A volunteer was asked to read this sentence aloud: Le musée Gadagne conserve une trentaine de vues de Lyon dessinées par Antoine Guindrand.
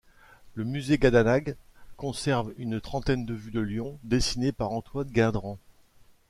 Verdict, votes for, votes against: rejected, 0, 2